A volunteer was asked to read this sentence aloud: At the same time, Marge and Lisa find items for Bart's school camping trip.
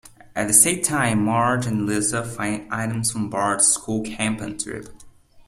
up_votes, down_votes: 1, 2